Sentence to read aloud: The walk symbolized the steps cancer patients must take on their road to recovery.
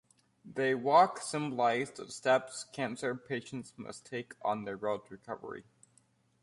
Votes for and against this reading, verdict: 2, 1, accepted